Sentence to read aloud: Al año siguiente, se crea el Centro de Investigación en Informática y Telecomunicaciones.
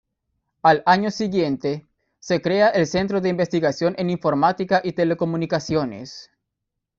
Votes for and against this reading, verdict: 2, 0, accepted